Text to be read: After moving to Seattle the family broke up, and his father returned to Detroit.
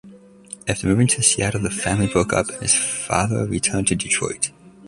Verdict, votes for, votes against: rejected, 1, 2